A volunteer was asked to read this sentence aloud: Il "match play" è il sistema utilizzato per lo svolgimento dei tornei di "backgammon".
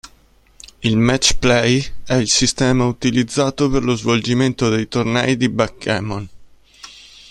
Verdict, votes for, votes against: accepted, 2, 0